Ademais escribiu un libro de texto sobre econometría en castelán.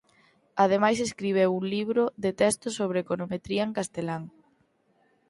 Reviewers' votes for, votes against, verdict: 2, 6, rejected